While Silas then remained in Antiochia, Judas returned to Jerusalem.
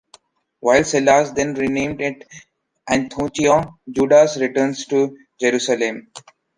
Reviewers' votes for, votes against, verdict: 0, 2, rejected